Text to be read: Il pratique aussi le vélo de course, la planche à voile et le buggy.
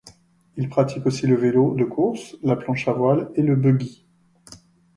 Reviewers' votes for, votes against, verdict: 2, 0, accepted